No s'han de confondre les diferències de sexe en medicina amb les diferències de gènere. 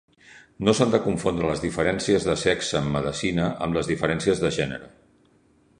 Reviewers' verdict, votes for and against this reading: rejected, 1, 2